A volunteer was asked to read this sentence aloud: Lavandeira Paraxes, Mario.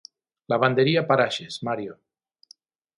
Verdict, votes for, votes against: rejected, 0, 6